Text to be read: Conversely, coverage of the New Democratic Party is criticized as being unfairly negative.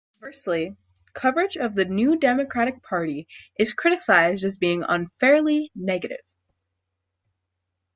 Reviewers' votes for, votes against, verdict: 1, 2, rejected